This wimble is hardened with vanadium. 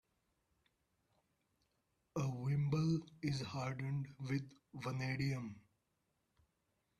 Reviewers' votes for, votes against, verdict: 0, 2, rejected